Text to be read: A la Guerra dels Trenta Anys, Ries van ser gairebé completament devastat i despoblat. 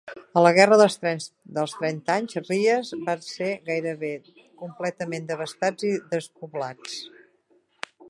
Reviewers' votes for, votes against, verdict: 0, 2, rejected